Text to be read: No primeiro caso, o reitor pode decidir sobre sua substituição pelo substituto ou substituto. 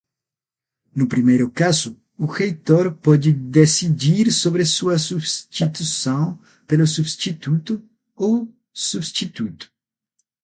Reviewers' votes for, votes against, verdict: 0, 9, rejected